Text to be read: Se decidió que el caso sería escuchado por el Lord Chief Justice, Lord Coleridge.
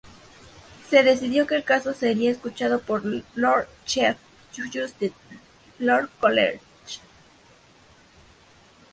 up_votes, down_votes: 0, 2